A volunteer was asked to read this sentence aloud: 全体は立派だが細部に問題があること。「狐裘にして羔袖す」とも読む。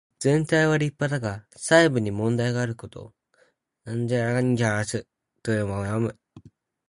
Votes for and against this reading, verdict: 0, 4, rejected